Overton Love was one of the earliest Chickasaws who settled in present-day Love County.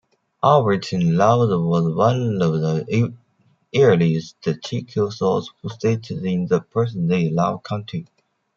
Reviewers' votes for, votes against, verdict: 0, 2, rejected